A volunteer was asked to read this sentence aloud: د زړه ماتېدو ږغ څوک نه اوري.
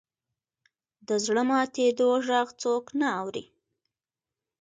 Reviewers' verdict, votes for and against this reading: accepted, 2, 0